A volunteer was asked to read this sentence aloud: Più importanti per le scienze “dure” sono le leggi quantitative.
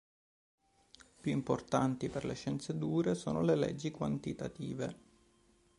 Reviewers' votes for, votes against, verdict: 2, 1, accepted